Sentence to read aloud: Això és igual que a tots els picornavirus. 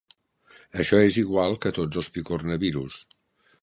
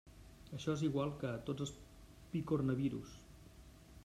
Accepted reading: first